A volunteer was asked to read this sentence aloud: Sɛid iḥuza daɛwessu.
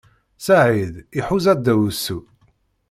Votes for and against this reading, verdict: 1, 2, rejected